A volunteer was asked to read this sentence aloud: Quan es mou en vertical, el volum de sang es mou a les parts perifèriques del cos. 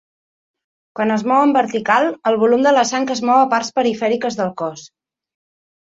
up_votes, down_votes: 0, 2